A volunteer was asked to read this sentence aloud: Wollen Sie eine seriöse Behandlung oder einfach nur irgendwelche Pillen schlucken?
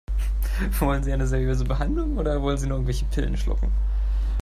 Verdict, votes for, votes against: rejected, 0, 3